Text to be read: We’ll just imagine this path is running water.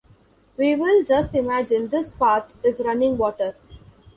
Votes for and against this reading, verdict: 0, 2, rejected